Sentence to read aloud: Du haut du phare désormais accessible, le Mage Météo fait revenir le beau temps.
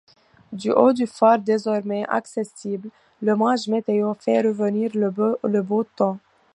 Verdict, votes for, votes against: rejected, 1, 2